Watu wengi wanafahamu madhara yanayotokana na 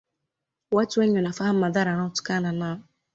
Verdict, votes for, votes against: accepted, 2, 0